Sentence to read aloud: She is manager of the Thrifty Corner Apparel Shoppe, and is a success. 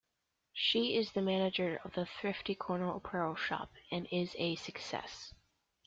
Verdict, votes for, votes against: rejected, 0, 2